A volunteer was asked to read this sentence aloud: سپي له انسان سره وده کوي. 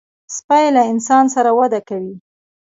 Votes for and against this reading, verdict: 1, 2, rejected